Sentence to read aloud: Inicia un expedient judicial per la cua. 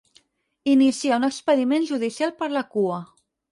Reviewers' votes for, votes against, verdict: 0, 4, rejected